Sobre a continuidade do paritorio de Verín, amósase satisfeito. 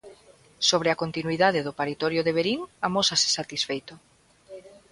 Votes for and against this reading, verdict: 2, 0, accepted